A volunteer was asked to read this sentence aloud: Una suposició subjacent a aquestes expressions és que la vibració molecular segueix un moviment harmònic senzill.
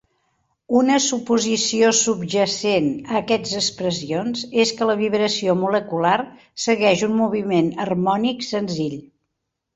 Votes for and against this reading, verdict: 0, 2, rejected